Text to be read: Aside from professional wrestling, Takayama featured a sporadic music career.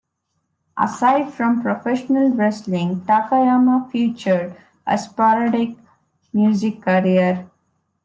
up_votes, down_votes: 2, 0